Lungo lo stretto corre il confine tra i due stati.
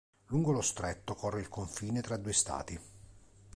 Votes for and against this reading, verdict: 2, 0, accepted